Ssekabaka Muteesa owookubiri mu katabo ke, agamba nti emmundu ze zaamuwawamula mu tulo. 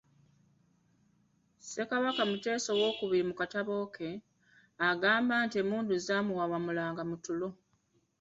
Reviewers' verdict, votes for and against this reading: rejected, 0, 2